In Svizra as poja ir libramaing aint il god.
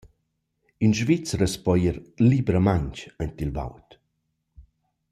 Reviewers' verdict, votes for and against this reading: rejected, 1, 2